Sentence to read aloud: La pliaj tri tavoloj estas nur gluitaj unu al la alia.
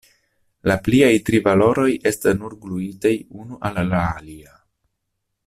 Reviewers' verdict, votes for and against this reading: rejected, 0, 2